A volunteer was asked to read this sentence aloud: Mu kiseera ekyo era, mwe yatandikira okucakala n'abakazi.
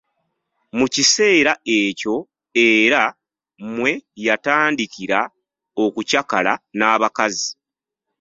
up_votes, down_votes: 1, 2